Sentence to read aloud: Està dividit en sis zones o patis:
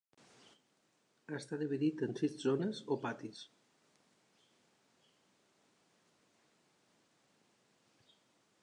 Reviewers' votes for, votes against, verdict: 2, 0, accepted